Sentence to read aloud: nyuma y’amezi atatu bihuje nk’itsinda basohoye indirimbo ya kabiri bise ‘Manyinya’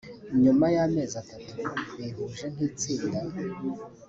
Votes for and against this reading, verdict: 0, 2, rejected